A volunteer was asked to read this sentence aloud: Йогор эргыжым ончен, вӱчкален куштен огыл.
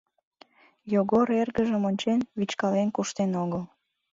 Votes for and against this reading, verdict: 2, 0, accepted